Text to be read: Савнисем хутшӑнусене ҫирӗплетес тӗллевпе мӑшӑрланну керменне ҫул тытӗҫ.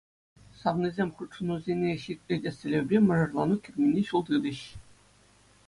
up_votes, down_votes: 2, 0